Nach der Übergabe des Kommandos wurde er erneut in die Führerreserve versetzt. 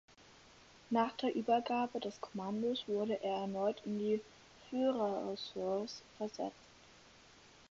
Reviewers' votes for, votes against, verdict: 0, 4, rejected